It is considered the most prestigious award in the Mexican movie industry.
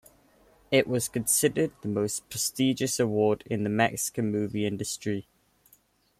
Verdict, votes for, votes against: rejected, 0, 2